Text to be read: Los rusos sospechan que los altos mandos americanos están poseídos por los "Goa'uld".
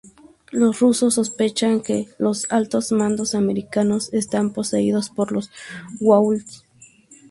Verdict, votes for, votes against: accepted, 4, 0